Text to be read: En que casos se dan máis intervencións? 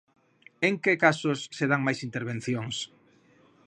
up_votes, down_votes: 2, 0